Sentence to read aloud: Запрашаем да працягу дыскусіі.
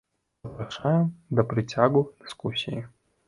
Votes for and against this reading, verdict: 1, 3, rejected